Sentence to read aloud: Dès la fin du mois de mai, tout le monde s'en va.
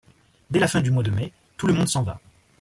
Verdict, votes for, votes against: accepted, 2, 1